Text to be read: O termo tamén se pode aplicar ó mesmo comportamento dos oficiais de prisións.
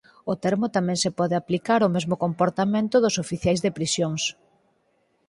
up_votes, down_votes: 4, 0